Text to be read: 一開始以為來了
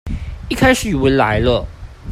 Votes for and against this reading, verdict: 2, 0, accepted